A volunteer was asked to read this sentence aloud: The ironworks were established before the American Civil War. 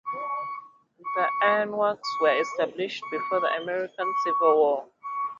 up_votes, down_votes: 0, 2